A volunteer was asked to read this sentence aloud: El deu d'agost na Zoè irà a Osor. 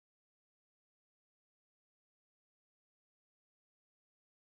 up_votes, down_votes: 1, 2